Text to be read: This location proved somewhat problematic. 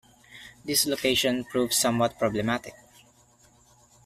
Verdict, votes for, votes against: accepted, 2, 0